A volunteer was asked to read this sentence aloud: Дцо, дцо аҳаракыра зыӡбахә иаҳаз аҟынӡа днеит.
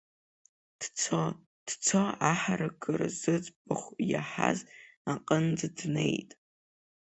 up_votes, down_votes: 2, 0